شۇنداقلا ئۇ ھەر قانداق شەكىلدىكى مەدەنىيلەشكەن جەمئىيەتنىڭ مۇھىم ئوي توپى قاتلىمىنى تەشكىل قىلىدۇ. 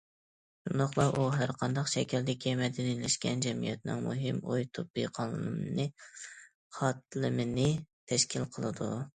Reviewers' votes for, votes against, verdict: 0, 2, rejected